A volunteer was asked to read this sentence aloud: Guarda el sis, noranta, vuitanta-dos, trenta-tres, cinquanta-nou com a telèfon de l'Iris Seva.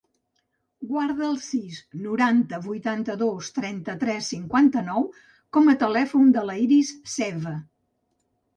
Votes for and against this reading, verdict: 0, 2, rejected